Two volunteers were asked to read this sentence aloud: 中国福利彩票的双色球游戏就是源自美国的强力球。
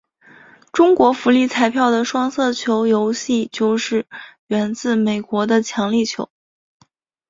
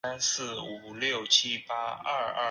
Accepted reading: first